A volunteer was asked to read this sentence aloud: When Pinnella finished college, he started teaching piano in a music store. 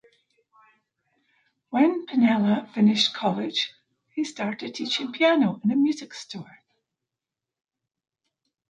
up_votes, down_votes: 2, 0